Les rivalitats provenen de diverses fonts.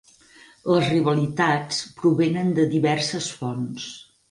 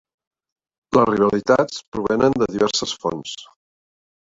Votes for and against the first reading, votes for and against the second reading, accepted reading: 6, 0, 1, 2, first